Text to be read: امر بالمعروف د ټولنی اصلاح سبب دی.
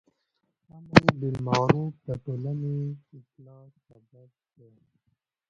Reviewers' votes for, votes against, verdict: 2, 0, accepted